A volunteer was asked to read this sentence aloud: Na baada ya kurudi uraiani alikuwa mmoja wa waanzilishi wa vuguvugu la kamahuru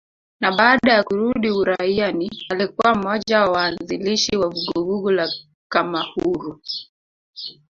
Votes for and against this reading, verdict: 1, 2, rejected